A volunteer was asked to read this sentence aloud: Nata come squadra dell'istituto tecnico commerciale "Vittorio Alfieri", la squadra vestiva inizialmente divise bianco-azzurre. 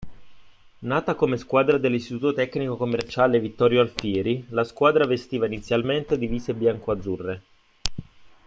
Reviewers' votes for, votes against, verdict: 0, 2, rejected